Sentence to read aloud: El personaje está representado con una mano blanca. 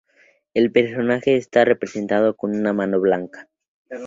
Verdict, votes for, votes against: accepted, 2, 0